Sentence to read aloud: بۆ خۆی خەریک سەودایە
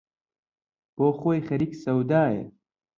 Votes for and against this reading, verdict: 2, 0, accepted